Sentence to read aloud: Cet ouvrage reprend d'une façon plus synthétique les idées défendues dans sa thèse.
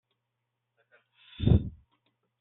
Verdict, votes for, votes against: rejected, 0, 2